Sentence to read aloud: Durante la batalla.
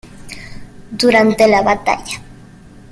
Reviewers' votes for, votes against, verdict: 2, 0, accepted